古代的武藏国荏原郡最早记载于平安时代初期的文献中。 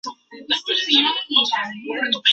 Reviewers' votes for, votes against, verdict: 3, 2, accepted